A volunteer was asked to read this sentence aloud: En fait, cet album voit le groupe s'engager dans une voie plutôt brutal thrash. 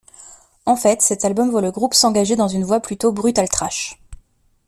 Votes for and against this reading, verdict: 2, 0, accepted